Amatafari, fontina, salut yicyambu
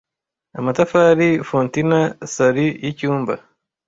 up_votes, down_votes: 1, 2